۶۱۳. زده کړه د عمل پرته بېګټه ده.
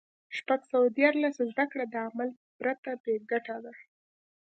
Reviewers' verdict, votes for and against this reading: rejected, 0, 2